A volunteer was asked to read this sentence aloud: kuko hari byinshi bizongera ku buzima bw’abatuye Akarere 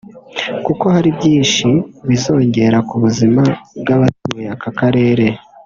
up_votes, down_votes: 0, 2